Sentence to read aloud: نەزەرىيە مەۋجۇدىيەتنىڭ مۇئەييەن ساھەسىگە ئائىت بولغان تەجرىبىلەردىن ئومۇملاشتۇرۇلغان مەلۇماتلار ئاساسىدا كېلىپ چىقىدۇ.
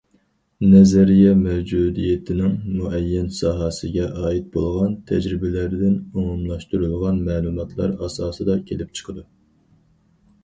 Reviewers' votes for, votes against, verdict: 0, 4, rejected